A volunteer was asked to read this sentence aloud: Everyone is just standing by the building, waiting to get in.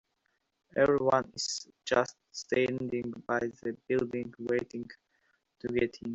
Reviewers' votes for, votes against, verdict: 1, 2, rejected